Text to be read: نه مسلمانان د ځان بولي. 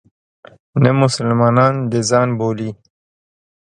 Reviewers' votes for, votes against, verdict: 2, 0, accepted